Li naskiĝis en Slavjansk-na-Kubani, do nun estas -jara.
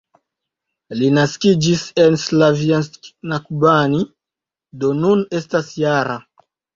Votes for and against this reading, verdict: 2, 0, accepted